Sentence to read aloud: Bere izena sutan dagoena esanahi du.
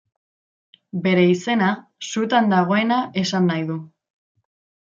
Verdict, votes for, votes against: accepted, 2, 0